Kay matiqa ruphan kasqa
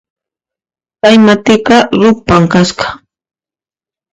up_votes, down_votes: 0, 2